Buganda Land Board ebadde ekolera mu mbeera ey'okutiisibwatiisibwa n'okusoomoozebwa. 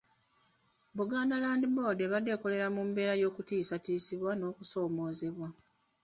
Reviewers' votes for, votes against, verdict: 0, 2, rejected